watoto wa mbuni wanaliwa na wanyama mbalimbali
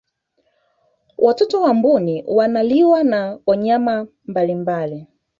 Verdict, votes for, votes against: rejected, 1, 2